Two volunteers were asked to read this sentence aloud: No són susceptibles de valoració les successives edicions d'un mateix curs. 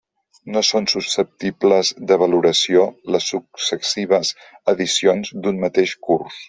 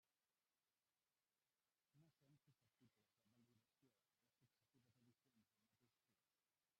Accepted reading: first